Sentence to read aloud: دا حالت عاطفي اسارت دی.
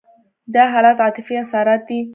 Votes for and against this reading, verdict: 2, 0, accepted